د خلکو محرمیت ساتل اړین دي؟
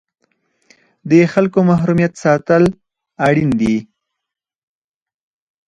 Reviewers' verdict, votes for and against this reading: rejected, 0, 4